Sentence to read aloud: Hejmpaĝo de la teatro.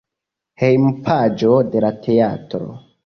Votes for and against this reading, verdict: 2, 0, accepted